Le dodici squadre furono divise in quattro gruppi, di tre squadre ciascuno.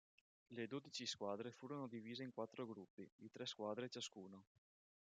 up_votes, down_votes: 2, 0